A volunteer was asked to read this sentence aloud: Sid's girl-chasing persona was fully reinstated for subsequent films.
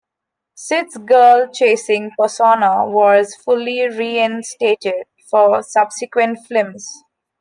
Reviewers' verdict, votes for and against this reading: accepted, 2, 1